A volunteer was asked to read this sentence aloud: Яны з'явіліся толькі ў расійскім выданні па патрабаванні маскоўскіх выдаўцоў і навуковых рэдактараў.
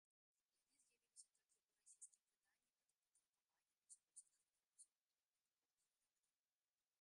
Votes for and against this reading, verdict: 1, 2, rejected